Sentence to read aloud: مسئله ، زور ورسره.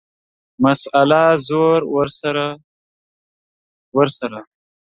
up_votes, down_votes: 0, 2